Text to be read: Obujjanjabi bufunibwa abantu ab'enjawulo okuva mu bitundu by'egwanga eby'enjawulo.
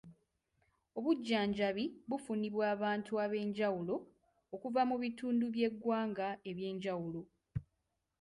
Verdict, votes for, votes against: accepted, 2, 0